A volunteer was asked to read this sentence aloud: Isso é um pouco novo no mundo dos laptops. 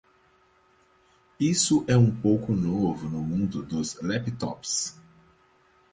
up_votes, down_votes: 4, 0